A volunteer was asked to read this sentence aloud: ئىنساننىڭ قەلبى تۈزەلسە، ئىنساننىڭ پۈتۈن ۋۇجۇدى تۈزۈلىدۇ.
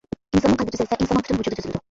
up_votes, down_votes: 0, 2